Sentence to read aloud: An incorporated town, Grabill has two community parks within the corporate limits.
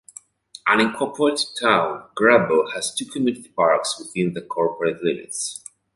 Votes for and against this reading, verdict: 1, 2, rejected